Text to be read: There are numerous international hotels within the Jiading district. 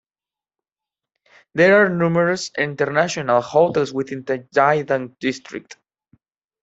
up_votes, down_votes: 2, 0